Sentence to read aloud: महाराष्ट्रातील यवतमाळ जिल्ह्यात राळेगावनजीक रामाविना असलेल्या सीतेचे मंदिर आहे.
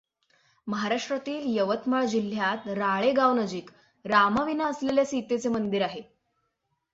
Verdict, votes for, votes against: accepted, 6, 0